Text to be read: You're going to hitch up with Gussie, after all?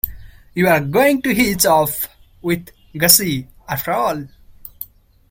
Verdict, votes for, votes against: rejected, 0, 2